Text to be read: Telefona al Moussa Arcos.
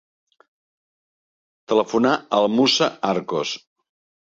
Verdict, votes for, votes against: rejected, 0, 2